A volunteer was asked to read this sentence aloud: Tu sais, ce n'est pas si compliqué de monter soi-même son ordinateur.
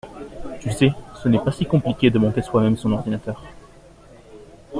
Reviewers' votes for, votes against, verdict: 3, 0, accepted